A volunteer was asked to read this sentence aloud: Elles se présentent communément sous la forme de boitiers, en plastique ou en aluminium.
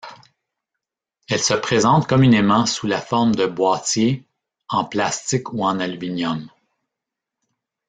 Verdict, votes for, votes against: rejected, 1, 3